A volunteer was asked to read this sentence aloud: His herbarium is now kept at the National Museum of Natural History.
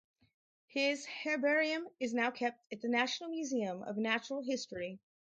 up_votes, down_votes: 2, 2